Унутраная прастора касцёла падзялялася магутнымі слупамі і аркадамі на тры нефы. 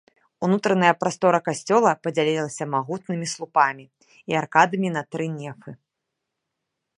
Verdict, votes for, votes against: rejected, 0, 2